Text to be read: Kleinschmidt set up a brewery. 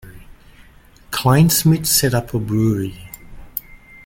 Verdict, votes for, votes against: accepted, 2, 0